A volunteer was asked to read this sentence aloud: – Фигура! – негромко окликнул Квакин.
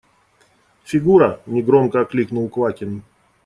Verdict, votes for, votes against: accepted, 2, 0